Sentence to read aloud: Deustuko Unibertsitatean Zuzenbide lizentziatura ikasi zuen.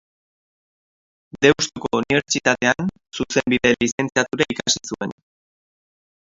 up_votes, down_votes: 1, 4